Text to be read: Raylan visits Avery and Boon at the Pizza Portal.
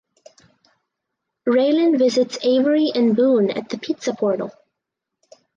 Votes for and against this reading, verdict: 4, 0, accepted